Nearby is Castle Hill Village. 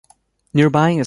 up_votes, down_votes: 1, 2